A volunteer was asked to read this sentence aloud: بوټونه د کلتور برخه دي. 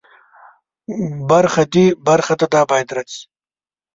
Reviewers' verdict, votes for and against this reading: rejected, 1, 2